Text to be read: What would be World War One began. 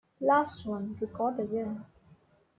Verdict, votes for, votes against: rejected, 0, 2